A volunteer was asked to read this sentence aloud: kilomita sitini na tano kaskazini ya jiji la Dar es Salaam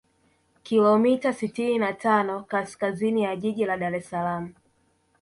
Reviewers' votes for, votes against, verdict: 0, 2, rejected